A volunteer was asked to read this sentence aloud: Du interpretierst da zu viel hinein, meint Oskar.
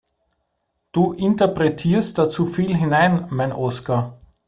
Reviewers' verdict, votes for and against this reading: accepted, 2, 1